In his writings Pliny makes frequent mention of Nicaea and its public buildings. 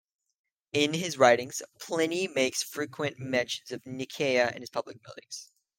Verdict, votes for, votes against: accepted, 2, 0